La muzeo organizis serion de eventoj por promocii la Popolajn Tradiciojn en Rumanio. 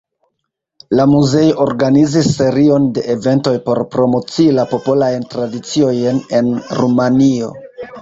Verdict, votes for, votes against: rejected, 0, 2